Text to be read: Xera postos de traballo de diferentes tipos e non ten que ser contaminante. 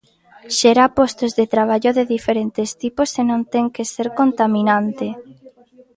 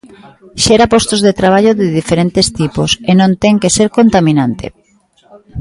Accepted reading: first